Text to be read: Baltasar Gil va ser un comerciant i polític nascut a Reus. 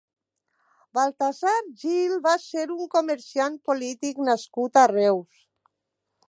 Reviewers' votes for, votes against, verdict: 1, 2, rejected